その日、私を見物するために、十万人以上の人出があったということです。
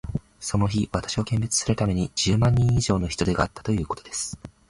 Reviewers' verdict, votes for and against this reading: accepted, 9, 2